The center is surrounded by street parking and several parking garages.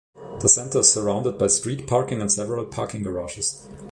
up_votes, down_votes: 3, 0